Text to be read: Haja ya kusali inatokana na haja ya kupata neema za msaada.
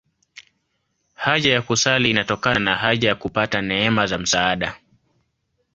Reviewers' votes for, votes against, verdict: 2, 0, accepted